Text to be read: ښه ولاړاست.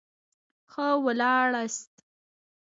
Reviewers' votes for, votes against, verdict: 2, 1, accepted